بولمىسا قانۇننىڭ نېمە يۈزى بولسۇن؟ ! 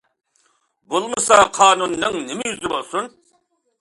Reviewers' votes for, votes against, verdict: 2, 0, accepted